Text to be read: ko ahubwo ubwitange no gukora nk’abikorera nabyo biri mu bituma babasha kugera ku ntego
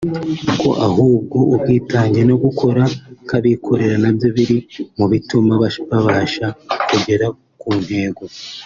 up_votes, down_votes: 2, 1